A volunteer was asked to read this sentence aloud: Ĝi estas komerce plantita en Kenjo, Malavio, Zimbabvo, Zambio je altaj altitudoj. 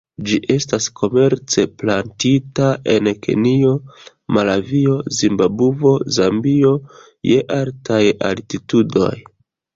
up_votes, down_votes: 0, 2